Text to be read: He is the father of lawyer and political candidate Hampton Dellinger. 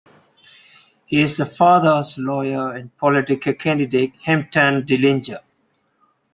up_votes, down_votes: 0, 2